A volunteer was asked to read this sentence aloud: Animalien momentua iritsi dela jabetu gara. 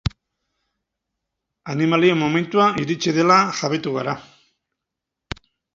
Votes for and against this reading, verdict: 4, 0, accepted